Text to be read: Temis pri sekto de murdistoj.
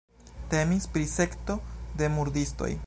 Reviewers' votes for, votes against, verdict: 2, 0, accepted